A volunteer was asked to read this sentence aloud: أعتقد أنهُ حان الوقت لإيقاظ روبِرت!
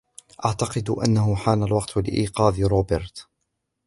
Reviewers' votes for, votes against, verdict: 2, 1, accepted